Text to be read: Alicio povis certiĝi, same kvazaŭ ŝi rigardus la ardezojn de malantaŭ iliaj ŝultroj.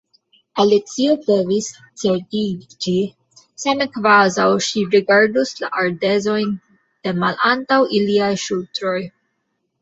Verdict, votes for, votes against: rejected, 0, 2